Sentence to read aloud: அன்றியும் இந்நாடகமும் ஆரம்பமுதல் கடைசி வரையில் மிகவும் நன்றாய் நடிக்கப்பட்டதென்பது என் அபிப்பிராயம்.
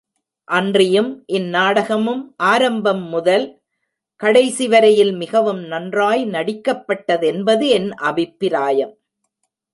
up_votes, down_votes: 0, 2